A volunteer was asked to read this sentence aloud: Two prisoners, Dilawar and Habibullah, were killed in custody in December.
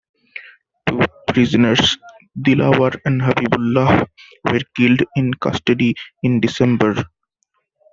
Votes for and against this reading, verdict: 2, 0, accepted